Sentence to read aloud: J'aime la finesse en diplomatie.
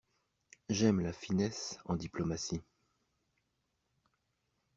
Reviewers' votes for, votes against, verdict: 3, 0, accepted